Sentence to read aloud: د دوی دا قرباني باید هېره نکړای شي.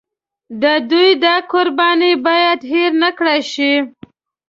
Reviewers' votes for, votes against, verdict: 2, 0, accepted